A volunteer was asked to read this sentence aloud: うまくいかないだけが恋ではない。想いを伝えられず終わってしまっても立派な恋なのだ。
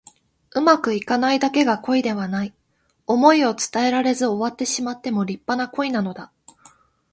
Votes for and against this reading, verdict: 2, 0, accepted